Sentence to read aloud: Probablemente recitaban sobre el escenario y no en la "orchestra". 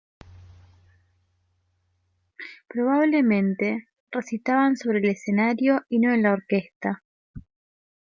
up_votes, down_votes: 1, 2